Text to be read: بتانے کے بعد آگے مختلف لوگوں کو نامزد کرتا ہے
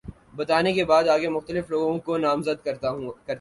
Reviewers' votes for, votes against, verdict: 0, 2, rejected